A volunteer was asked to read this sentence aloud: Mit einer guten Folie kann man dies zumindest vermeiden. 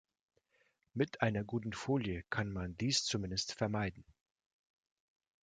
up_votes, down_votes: 2, 0